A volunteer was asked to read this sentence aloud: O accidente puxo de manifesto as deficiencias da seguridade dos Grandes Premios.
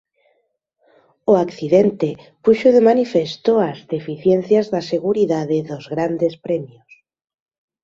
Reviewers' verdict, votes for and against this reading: accepted, 3, 0